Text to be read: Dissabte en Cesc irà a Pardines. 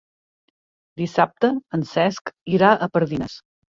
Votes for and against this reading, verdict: 2, 0, accepted